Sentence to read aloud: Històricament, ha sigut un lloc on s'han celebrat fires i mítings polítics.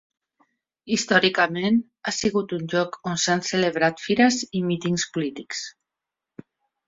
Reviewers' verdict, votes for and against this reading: accepted, 2, 0